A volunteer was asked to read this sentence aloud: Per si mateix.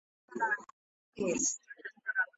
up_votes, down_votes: 0, 2